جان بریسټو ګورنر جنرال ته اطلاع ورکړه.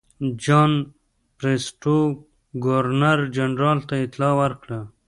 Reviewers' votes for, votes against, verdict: 2, 0, accepted